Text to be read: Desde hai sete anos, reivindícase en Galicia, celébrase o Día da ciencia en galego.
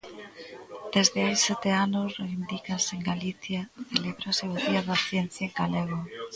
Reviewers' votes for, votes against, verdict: 0, 2, rejected